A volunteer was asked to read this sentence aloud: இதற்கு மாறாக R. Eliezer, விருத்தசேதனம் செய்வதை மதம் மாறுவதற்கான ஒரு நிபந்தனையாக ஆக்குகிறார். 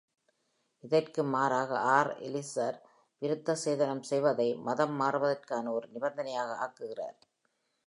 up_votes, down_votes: 2, 1